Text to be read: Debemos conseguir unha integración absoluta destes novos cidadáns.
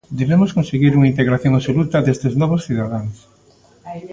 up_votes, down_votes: 2, 1